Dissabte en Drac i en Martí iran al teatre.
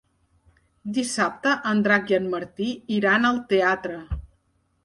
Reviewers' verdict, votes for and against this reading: accepted, 3, 0